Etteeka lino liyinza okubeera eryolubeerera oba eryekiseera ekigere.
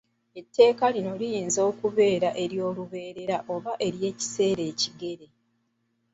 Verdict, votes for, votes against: accepted, 2, 1